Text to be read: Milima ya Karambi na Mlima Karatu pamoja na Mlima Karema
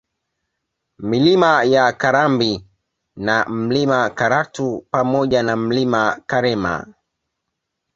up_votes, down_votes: 2, 0